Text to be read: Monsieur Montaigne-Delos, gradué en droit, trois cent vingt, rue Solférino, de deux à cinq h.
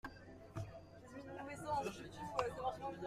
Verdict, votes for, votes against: rejected, 0, 2